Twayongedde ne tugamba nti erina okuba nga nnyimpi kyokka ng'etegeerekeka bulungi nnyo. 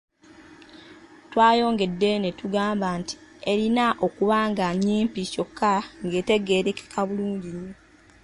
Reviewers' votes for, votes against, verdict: 3, 1, accepted